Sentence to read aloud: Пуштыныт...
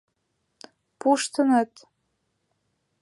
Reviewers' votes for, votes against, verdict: 3, 0, accepted